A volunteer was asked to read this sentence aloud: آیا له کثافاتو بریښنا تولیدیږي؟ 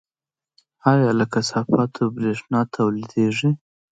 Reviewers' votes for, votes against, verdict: 2, 0, accepted